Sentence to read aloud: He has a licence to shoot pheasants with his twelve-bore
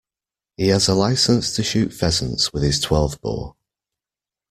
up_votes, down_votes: 2, 0